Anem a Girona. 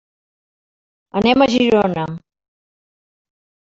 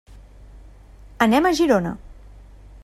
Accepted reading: second